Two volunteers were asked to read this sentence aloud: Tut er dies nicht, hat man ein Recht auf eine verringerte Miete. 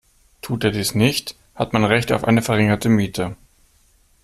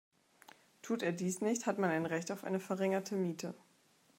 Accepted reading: second